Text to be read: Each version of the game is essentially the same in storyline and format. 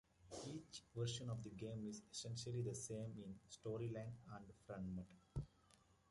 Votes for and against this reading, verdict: 1, 2, rejected